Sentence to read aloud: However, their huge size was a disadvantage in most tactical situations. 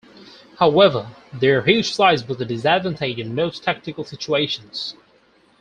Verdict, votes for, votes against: rejected, 0, 4